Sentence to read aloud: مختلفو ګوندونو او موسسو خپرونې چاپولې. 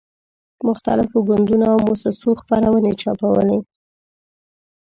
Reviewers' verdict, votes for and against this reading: rejected, 1, 2